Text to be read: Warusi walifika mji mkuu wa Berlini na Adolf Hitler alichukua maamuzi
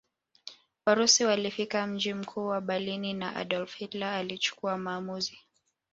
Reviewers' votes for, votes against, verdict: 1, 2, rejected